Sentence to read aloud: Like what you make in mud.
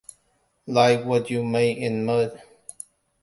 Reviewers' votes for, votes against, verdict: 2, 0, accepted